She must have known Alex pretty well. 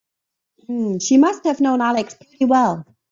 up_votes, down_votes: 1, 2